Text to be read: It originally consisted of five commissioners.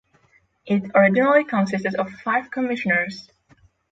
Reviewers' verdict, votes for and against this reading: accepted, 6, 0